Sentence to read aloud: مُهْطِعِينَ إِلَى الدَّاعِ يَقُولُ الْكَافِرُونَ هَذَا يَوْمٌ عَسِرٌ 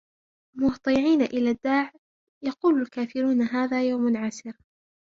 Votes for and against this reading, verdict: 0, 2, rejected